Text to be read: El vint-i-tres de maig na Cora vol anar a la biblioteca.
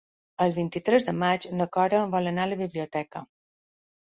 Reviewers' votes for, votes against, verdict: 3, 0, accepted